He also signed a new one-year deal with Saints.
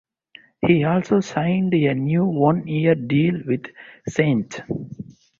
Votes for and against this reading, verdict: 2, 0, accepted